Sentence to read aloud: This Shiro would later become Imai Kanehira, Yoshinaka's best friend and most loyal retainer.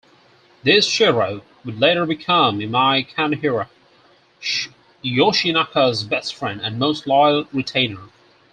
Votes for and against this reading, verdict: 4, 0, accepted